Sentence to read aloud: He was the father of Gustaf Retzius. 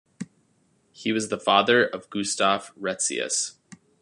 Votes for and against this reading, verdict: 2, 0, accepted